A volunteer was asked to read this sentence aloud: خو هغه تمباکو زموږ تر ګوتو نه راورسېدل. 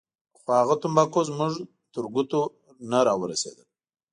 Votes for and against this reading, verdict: 2, 0, accepted